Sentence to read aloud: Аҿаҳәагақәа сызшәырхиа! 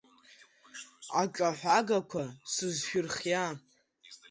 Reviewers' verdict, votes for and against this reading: accepted, 2, 1